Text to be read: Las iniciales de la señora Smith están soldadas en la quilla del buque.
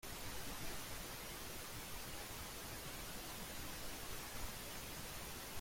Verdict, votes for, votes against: rejected, 0, 2